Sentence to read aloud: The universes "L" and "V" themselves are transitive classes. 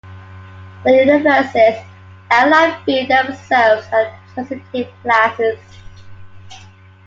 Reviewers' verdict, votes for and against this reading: rejected, 1, 2